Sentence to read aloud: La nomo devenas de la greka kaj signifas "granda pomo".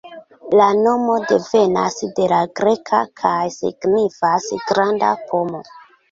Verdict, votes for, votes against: rejected, 1, 2